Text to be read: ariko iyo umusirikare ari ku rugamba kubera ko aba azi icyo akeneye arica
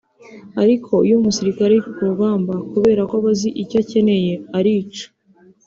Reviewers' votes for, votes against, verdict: 2, 1, accepted